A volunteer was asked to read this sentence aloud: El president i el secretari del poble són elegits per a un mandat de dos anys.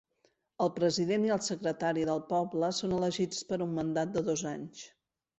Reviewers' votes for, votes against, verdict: 4, 2, accepted